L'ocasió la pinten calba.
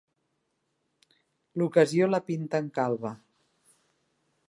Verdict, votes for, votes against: accepted, 3, 0